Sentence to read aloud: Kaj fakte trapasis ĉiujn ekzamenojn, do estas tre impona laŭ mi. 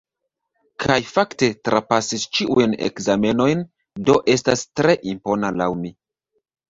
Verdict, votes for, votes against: rejected, 0, 2